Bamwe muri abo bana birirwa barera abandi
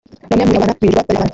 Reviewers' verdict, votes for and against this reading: rejected, 0, 2